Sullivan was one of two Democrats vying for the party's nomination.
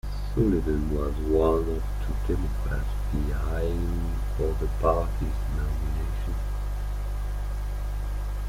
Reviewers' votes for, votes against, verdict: 0, 2, rejected